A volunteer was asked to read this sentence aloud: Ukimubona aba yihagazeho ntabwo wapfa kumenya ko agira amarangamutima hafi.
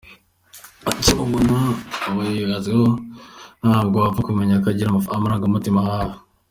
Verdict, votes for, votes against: rejected, 0, 3